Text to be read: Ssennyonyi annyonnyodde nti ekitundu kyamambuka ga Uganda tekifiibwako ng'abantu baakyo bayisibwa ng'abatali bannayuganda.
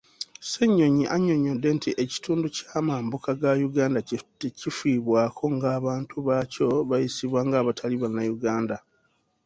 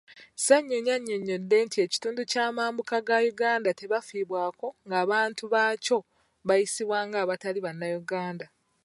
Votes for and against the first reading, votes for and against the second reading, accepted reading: 2, 0, 1, 2, first